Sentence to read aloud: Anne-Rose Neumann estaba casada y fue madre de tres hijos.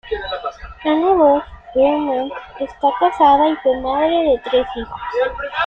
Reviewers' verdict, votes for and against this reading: rejected, 1, 2